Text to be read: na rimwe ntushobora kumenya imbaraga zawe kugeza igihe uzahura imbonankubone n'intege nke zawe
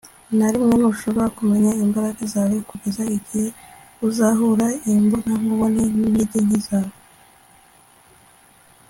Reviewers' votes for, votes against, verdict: 1, 2, rejected